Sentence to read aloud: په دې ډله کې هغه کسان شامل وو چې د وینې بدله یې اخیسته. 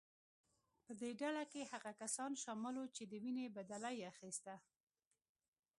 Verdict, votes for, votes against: accepted, 2, 0